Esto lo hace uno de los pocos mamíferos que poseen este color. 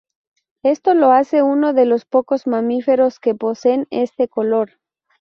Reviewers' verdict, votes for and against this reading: rejected, 0, 2